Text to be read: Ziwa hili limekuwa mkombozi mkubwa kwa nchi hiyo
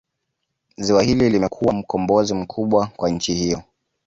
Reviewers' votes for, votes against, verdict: 3, 1, accepted